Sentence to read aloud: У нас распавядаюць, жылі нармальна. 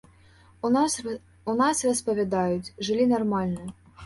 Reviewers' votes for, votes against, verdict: 0, 2, rejected